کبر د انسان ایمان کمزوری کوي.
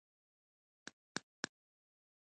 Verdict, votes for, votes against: rejected, 0, 2